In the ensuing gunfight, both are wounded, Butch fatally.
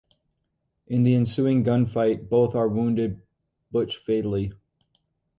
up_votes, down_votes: 2, 2